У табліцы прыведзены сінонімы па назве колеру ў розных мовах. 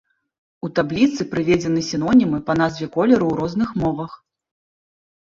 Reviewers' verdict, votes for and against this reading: accepted, 2, 1